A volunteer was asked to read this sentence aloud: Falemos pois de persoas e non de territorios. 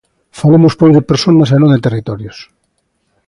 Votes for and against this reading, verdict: 2, 0, accepted